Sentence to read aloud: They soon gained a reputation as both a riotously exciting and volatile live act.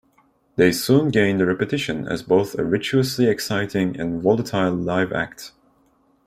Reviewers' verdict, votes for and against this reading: rejected, 1, 2